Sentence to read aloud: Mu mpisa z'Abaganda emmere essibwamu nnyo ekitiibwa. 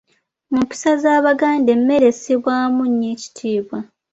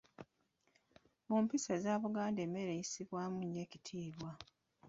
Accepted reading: first